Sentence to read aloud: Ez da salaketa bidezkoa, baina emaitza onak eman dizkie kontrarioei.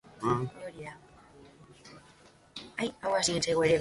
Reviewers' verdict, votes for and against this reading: rejected, 0, 2